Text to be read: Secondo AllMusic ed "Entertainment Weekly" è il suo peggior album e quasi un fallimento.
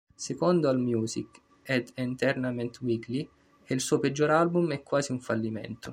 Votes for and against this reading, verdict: 0, 2, rejected